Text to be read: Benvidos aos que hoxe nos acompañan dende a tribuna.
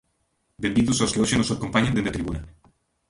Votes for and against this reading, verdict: 0, 2, rejected